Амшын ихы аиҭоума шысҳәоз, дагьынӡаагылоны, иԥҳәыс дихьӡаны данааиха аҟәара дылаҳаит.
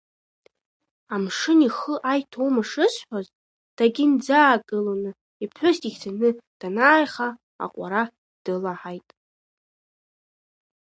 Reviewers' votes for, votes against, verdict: 2, 0, accepted